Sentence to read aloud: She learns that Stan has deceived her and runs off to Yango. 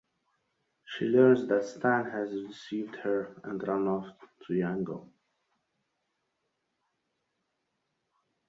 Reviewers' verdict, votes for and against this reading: rejected, 0, 2